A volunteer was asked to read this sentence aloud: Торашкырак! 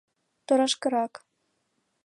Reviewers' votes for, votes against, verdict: 2, 0, accepted